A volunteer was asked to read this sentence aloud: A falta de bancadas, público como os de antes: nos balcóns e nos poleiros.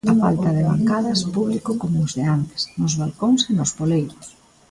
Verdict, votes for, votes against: accepted, 2, 0